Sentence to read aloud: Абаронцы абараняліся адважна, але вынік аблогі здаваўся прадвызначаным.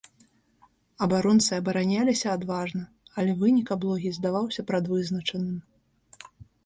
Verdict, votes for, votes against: accepted, 2, 0